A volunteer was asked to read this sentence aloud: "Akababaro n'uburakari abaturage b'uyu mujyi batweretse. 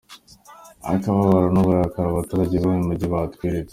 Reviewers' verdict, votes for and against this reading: accepted, 2, 0